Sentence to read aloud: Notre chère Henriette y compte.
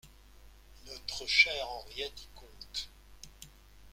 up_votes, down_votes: 2, 0